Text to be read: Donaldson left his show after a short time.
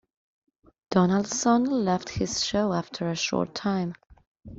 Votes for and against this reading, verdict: 2, 0, accepted